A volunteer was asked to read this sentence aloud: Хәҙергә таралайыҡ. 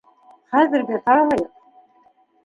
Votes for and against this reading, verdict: 0, 3, rejected